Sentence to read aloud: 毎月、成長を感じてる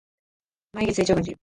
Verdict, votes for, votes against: rejected, 0, 2